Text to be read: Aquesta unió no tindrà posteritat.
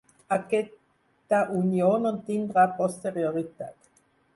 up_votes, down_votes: 0, 4